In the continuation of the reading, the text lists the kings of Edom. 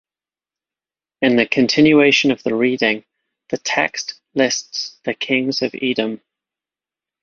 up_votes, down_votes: 2, 1